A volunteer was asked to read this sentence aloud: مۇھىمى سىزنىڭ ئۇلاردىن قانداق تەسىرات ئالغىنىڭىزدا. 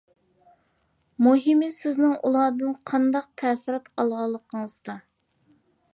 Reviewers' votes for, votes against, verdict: 2, 1, accepted